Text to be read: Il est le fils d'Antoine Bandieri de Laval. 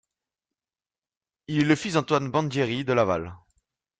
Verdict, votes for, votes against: accepted, 2, 0